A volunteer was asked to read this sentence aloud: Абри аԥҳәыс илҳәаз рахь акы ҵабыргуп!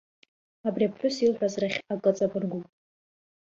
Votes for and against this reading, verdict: 1, 2, rejected